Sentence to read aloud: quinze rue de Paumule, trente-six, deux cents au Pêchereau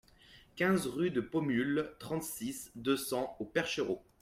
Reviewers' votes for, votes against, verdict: 1, 2, rejected